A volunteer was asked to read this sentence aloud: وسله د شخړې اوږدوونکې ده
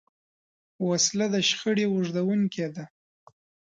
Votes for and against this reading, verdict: 2, 0, accepted